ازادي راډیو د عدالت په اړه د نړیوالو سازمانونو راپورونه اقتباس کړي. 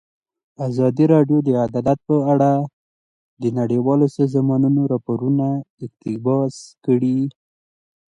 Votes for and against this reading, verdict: 2, 0, accepted